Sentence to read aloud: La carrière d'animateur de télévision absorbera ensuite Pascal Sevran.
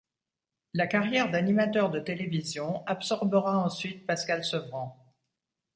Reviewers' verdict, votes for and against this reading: accepted, 2, 0